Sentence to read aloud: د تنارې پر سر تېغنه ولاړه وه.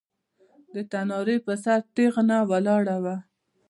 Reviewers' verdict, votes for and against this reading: rejected, 0, 2